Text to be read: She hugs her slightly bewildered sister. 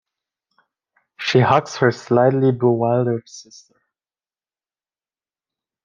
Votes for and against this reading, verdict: 2, 0, accepted